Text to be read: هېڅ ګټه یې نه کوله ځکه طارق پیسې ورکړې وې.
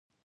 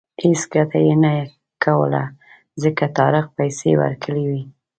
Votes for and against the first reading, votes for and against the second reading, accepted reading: 0, 2, 2, 1, second